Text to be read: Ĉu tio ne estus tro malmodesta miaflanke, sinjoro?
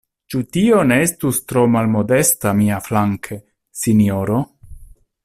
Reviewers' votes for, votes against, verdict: 2, 0, accepted